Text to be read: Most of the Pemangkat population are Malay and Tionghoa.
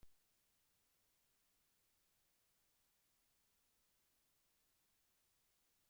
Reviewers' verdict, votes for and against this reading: rejected, 0, 2